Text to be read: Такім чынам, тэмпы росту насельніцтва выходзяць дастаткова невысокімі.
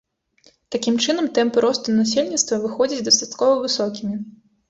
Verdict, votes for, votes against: rejected, 1, 2